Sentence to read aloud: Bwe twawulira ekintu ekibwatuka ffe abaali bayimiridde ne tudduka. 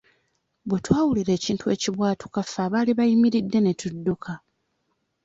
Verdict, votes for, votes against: accepted, 2, 0